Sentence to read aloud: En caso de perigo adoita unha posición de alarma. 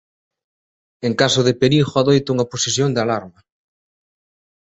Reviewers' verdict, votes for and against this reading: accepted, 2, 0